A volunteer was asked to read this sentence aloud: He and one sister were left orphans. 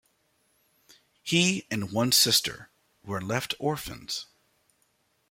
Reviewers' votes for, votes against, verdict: 1, 2, rejected